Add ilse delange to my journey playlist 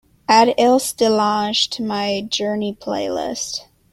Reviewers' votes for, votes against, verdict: 2, 0, accepted